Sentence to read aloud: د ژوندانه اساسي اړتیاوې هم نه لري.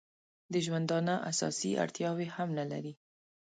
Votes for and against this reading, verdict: 2, 0, accepted